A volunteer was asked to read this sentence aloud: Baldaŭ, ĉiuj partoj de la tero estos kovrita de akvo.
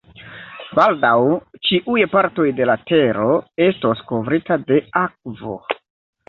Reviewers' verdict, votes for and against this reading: accepted, 2, 1